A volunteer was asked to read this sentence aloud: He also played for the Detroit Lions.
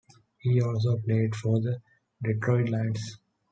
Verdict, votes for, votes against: accepted, 2, 0